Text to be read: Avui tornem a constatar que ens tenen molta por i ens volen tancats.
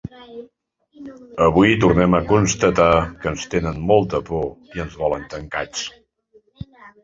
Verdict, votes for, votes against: accepted, 4, 1